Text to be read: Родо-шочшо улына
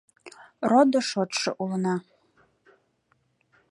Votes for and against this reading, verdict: 2, 0, accepted